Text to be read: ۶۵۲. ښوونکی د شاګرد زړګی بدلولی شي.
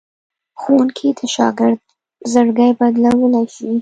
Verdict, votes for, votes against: rejected, 0, 2